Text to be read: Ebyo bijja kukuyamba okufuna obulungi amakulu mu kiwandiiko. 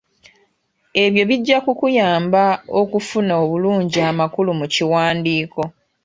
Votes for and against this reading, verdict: 2, 0, accepted